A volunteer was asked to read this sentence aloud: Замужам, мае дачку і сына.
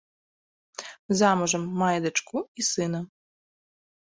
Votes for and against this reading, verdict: 2, 0, accepted